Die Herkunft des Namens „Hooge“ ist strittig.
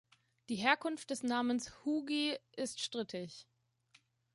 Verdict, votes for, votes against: rejected, 1, 2